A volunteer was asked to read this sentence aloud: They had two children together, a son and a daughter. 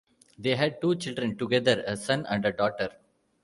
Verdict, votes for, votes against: rejected, 1, 2